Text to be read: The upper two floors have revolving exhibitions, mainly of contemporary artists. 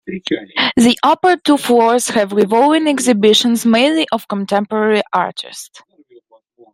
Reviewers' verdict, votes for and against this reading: rejected, 0, 2